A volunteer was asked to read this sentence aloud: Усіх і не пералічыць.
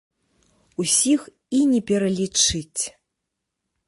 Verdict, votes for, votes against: accepted, 2, 0